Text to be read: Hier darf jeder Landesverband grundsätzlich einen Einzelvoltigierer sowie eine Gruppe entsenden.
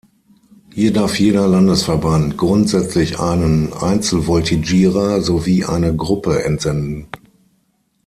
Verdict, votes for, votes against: accepted, 6, 0